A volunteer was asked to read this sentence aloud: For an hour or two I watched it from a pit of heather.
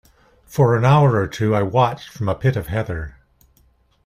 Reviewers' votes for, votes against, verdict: 2, 0, accepted